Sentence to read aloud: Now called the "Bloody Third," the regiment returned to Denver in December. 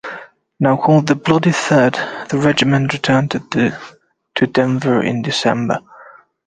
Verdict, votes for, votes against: rejected, 1, 2